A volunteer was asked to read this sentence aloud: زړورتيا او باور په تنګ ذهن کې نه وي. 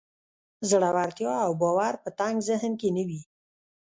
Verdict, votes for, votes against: rejected, 0, 2